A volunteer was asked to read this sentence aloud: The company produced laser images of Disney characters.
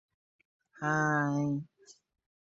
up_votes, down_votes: 0, 2